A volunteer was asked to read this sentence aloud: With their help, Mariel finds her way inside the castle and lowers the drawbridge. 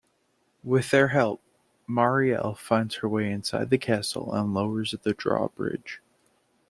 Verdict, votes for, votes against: rejected, 0, 2